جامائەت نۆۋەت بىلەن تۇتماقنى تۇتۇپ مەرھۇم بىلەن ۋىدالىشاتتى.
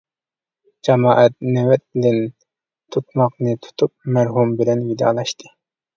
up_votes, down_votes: 2, 0